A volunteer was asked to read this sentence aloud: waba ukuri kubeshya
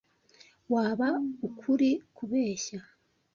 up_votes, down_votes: 2, 0